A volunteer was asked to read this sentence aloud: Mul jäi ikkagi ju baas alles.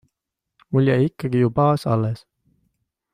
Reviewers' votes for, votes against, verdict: 2, 0, accepted